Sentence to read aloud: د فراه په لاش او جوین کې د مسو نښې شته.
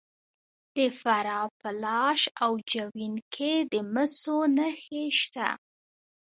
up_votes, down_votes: 0, 2